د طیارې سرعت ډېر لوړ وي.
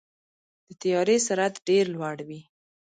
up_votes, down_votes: 1, 2